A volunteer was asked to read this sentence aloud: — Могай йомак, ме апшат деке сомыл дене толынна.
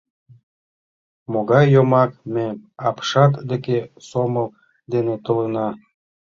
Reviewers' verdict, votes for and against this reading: rejected, 1, 2